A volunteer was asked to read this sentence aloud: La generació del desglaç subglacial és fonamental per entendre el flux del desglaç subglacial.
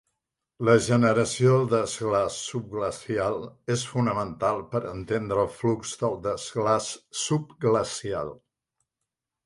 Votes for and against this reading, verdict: 1, 2, rejected